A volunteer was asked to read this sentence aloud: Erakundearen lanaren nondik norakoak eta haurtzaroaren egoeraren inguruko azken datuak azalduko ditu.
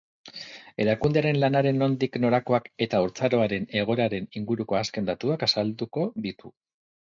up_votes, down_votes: 2, 0